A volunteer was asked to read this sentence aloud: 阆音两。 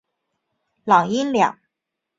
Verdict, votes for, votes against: rejected, 1, 3